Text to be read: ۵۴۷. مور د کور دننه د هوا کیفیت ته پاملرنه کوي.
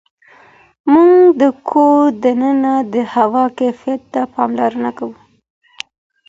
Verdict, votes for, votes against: rejected, 0, 2